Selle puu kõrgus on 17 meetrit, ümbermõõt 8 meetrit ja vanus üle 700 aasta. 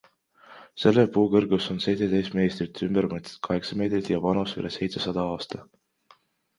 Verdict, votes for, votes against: rejected, 0, 2